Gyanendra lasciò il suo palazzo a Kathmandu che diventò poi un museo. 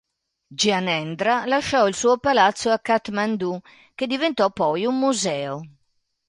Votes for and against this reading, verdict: 2, 0, accepted